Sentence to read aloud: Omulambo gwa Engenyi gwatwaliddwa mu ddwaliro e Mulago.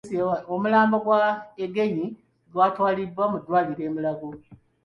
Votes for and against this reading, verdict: 0, 2, rejected